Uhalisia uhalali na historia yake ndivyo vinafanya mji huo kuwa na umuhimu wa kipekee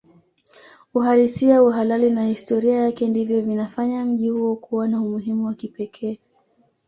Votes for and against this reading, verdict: 2, 1, accepted